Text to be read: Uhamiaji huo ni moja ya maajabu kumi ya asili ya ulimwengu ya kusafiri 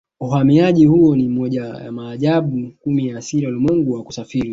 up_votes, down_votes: 2, 0